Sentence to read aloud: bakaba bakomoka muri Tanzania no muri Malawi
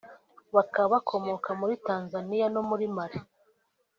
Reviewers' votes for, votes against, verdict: 1, 2, rejected